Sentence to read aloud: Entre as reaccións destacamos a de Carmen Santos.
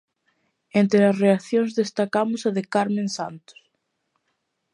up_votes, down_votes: 2, 0